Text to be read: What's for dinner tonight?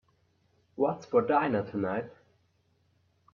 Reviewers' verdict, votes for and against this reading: rejected, 0, 2